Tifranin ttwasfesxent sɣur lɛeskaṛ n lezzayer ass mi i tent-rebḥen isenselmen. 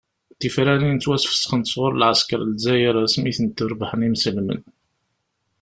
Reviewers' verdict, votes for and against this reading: rejected, 1, 2